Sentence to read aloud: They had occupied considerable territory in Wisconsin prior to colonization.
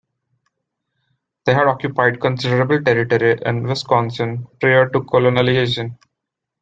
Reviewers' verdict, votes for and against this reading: rejected, 0, 2